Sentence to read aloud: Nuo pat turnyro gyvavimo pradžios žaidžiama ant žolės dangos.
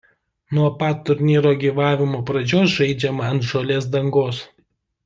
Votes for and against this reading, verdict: 2, 0, accepted